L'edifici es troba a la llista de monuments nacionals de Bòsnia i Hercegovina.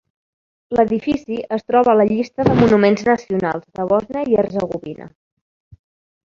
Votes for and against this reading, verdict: 2, 1, accepted